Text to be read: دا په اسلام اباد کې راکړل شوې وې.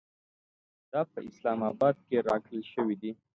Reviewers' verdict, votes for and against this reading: accepted, 2, 1